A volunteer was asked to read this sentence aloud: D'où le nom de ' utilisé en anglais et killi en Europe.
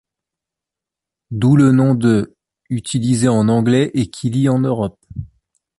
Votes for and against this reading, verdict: 2, 0, accepted